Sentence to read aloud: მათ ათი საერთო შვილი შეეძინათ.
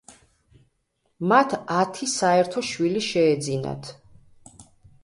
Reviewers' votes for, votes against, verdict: 2, 0, accepted